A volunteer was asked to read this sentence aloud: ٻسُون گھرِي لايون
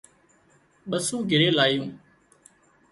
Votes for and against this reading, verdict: 0, 2, rejected